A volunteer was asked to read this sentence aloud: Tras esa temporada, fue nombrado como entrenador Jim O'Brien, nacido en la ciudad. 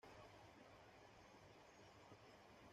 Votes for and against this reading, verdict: 1, 2, rejected